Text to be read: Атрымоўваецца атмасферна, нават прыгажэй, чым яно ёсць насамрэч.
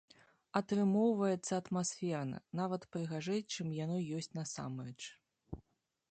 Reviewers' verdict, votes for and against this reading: accepted, 2, 0